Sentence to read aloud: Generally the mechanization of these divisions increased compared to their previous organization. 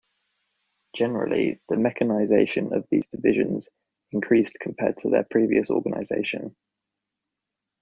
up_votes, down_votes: 2, 0